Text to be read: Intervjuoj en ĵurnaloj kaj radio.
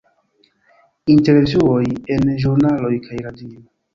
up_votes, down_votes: 0, 2